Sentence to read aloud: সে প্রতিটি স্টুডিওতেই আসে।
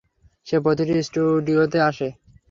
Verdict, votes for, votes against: accepted, 3, 0